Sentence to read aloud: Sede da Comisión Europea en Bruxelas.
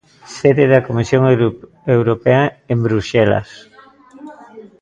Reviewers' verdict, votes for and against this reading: rejected, 0, 2